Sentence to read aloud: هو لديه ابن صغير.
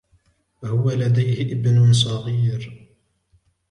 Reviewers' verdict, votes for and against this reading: accepted, 4, 0